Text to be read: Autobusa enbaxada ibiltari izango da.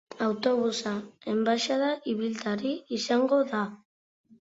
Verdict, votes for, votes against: accepted, 2, 0